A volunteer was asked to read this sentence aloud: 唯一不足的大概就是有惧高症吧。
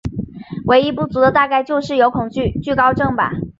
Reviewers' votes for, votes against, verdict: 0, 2, rejected